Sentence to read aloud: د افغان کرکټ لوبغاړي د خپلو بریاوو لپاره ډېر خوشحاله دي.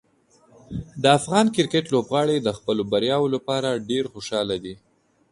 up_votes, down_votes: 2, 0